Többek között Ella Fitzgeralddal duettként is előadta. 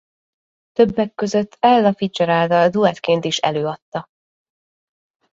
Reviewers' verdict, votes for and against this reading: accepted, 2, 0